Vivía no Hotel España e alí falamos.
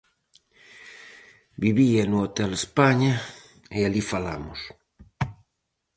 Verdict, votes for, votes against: accepted, 4, 0